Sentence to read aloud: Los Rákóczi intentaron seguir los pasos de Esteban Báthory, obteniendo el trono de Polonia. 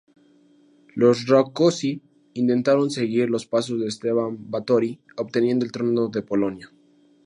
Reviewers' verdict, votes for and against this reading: accepted, 2, 0